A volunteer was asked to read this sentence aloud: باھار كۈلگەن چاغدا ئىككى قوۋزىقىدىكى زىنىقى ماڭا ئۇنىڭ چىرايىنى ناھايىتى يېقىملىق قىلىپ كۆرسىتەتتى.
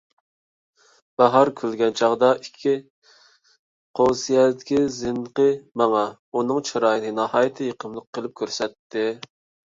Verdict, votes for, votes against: rejected, 0, 2